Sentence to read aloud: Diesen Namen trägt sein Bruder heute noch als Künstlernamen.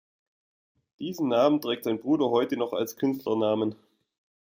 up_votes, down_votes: 2, 1